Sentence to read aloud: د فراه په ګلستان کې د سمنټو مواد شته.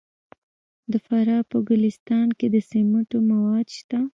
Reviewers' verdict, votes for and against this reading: rejected, 0, 2